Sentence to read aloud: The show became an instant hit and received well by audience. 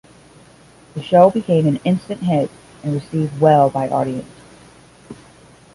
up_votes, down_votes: 5, 10